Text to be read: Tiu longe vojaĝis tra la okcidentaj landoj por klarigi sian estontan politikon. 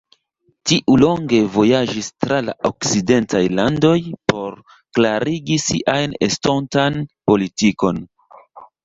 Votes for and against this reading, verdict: 2, 0, accepted